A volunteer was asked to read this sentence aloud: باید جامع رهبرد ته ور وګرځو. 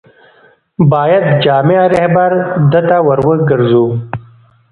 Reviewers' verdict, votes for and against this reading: accepted, 2, 1